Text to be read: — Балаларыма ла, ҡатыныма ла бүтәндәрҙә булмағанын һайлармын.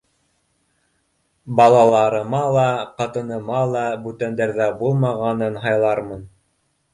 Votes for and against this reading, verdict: 2, 0, accepted